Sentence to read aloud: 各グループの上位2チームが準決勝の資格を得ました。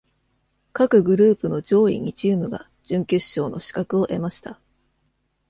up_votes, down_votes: 0, 2